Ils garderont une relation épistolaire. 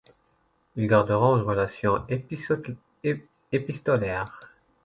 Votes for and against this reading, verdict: 1, 2, rejected